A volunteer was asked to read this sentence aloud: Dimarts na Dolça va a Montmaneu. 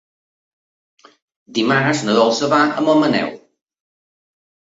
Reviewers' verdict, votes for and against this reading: accepted, 3, 0